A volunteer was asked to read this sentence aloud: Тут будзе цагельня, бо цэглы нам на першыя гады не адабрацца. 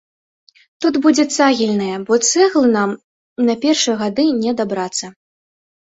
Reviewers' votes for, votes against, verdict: 1, 2, rejected